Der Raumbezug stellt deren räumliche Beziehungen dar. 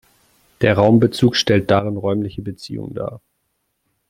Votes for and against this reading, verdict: 0, 2, rejected